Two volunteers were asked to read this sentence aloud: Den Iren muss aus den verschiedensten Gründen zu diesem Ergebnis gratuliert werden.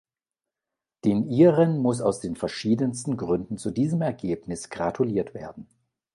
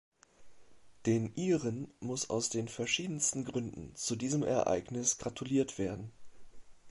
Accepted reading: first